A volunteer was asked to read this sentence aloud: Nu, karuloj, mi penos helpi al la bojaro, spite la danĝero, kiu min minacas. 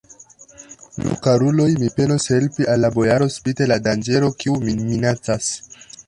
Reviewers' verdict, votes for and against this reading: rejected, 0, 2